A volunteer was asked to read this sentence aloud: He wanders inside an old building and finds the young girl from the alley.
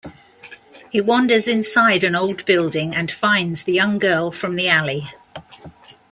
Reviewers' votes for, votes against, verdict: 2, 0, accepted